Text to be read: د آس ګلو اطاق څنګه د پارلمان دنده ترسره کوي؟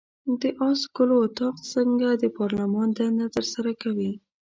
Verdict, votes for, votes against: accepted, 2, 0